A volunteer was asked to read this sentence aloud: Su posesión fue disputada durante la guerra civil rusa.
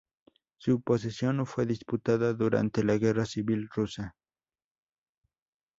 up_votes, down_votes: 2, 4